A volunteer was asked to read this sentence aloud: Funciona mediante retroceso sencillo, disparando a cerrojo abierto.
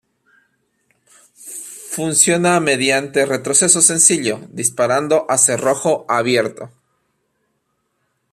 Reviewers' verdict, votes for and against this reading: accepted, 2, 0